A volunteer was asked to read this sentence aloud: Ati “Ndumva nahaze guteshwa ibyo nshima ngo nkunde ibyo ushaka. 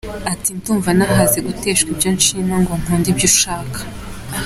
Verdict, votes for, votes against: accepted, 2, 0